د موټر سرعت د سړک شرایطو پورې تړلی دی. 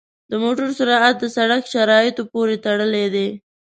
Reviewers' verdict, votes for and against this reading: accepted, 2, 0